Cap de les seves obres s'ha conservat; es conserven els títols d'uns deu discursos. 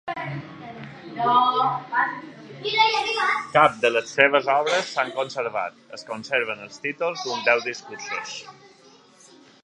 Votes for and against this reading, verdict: 1, 2, rejected